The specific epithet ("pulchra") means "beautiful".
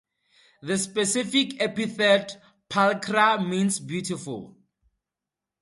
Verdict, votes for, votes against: accepted, 2, 0